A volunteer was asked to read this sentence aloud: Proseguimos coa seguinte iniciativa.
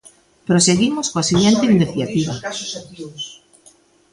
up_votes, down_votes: 1, 2